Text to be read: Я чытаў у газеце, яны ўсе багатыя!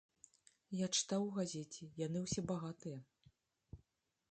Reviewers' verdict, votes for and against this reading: accepted, 2, 0